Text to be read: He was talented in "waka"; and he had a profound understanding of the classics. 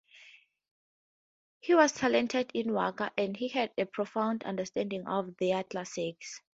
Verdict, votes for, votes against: accepted, 4, 2